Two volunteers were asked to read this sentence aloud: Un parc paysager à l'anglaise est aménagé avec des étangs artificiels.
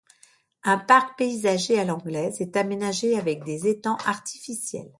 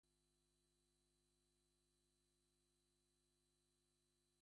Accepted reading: first